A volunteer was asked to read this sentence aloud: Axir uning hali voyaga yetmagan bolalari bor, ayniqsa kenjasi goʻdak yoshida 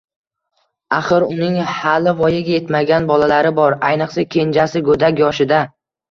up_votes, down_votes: 2, 0